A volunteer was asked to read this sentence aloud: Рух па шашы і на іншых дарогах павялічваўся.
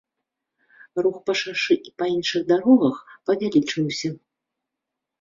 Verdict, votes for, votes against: rejected, 1, 2